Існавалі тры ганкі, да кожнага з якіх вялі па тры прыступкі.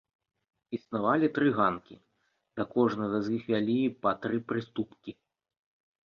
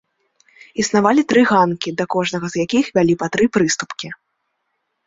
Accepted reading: second